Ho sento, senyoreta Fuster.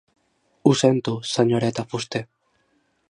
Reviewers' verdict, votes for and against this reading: accepted, 2, 1